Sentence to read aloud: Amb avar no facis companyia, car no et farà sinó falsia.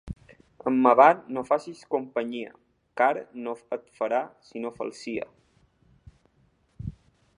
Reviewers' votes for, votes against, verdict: 0, 2, rejected